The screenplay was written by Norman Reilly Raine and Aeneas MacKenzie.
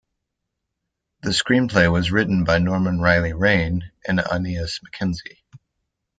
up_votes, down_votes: 2, 0